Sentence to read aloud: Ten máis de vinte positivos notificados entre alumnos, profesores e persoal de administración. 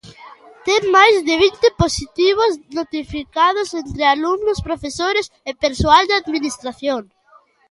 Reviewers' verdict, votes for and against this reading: accepted, 2, 0